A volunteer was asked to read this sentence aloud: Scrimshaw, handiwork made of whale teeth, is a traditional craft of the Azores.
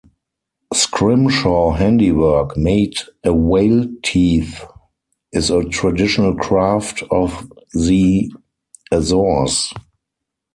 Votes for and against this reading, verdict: 2, 4, rejected